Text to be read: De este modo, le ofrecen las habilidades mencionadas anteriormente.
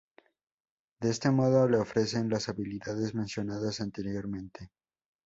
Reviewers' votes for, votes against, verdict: 2, 0, accepted